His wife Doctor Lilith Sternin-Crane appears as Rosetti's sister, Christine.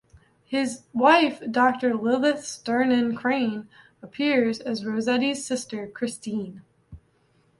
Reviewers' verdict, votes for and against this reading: accepted, 2, 0